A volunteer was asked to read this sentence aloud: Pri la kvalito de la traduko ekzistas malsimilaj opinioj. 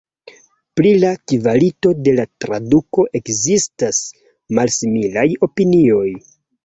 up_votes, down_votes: 2, 1